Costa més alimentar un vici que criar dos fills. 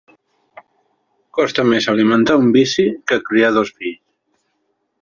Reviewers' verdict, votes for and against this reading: rejected, 1, 2